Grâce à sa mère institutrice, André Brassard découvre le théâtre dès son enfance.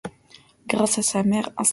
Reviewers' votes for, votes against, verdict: 0, 2, rejected